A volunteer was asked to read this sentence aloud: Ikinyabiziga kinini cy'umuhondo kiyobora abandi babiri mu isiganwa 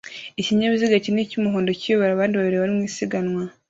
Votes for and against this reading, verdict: 2, 0, accepted